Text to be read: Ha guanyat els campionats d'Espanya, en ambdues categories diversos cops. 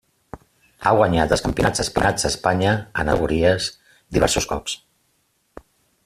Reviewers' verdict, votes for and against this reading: rejected, 0, 2